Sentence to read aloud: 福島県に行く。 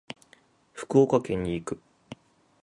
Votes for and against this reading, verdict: 3, 6, rejected